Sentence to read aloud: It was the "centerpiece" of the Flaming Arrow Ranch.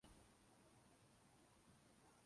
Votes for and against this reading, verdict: 1, 2, rejected